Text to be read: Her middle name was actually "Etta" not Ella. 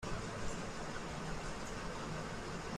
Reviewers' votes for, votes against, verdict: 0, 2, rejected